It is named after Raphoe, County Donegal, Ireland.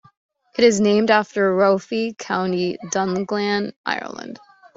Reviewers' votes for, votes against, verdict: 1, 3, rejected